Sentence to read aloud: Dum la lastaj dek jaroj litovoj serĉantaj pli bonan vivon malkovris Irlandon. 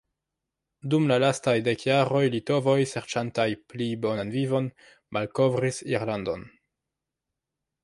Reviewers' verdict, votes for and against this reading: accepted, 2, 0